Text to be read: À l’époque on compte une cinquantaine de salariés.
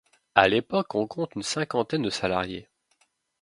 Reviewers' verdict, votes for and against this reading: accepted, 2, 0